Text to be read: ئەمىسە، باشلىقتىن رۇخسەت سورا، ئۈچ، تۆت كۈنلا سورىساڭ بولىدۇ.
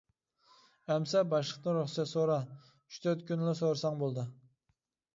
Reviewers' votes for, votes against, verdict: 2, 1, accepted